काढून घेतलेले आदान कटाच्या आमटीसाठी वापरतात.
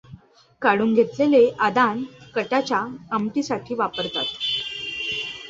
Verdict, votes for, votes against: accepted, 2, 0